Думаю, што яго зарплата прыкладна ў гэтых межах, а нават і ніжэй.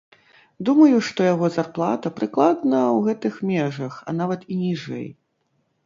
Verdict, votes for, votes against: rejected, 1, 2